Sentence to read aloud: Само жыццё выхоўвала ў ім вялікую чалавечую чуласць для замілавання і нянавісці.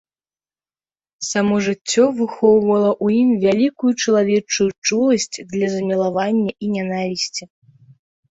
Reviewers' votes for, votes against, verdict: 2, 1, accepted